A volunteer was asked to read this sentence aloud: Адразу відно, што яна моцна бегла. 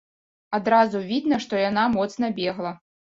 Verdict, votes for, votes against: rejected, 0, 2